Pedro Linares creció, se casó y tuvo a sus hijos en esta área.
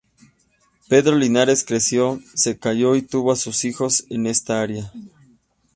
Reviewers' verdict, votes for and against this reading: rejected, 0, 2